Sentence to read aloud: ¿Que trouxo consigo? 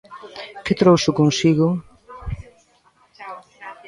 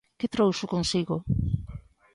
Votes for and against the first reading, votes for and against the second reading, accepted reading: 1, 2, 2, 0, second